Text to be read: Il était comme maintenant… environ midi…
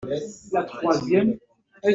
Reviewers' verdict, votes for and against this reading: rejected, 0, 2